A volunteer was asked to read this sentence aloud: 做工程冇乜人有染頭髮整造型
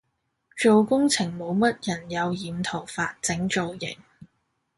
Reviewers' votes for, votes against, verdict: 2, 0, accepted